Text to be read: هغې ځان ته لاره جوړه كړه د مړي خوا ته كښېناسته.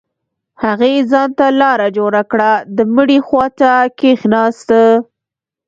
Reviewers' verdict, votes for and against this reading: accepted, 2, 1